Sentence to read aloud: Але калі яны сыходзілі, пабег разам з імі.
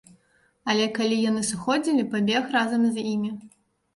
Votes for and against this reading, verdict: 2, 0, accepted